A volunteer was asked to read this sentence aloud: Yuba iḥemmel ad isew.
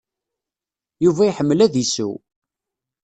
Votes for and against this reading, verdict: 2, 0, accepted